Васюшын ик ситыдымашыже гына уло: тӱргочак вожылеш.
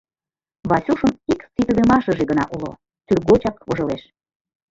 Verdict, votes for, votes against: accepted, 2, 0